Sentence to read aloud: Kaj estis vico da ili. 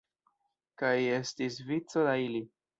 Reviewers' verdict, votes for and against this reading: rejected, 1, 2